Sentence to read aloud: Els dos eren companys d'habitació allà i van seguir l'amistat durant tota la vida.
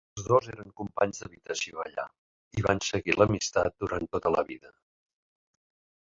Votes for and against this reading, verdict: 3, 0, accepted